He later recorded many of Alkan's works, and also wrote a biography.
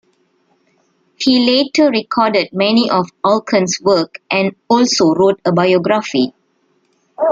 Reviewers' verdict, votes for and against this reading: rejected, 1, 2